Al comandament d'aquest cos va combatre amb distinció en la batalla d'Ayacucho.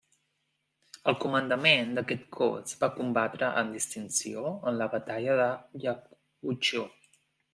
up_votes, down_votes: 1, 2